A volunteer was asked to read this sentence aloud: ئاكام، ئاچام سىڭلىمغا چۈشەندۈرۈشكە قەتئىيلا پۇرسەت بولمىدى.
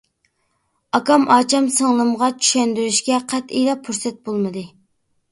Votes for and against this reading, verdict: 2, 0, accepted